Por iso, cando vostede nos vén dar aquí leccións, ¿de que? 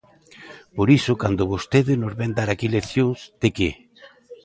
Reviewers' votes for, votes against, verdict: 2, 0, accepted